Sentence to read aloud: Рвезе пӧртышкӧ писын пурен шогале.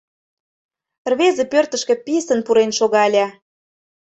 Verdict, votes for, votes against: accepted, 2, 0